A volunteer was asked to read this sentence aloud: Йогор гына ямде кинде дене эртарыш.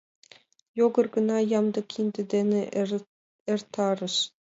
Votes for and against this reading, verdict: 1, 2, rejected